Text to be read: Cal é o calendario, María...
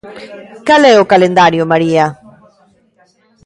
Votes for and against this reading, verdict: 1, 2, rejected